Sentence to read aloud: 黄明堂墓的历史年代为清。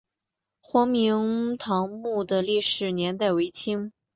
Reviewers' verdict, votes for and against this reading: accepted, 6, 0